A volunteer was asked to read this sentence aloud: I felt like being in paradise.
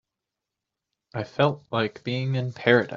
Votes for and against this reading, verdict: 0, 2, rejected